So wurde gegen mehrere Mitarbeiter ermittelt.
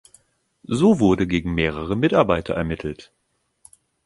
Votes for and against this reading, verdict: 2, 0, accepted